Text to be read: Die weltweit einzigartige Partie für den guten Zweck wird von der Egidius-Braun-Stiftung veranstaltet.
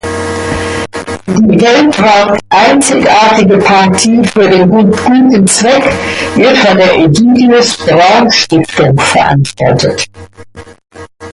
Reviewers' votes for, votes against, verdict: 0, 4, rejected